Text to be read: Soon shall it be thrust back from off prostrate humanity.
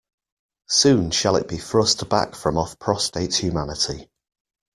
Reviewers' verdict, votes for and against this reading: rejected, 0, 2